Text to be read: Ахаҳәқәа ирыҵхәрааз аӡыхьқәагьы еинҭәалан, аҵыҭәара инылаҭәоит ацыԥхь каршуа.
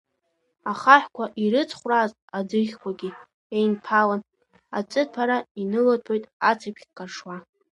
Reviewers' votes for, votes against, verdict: 0, 2, rejected